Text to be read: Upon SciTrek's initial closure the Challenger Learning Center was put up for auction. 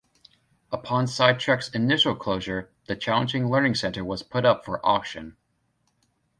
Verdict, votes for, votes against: rejected, 1, 2